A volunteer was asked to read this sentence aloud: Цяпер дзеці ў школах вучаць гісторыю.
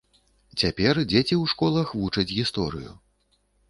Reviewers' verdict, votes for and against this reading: accepted, 2, 0